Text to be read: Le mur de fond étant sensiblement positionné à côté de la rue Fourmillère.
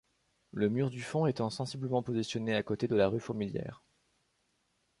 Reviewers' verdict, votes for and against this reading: rejected, 0, 2